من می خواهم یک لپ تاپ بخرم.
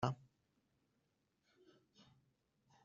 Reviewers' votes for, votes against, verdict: 3, 6, rejected